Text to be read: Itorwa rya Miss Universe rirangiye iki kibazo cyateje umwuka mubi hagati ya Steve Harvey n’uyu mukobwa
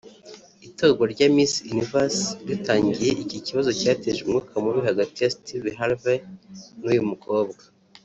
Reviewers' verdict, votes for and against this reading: rejected, 1, 2